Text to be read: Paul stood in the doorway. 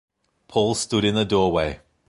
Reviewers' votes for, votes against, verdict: 2, 0, accepted